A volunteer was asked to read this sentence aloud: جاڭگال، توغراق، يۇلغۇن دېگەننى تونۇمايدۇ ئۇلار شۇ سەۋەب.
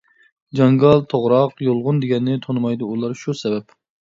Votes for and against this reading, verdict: 2, 0, accepted